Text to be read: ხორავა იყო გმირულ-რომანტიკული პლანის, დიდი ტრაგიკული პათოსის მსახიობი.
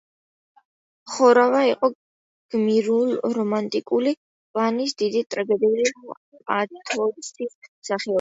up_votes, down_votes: 2, 0